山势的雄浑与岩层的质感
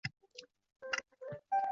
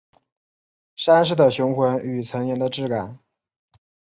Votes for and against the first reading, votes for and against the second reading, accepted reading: 0, 2, 7, 0, second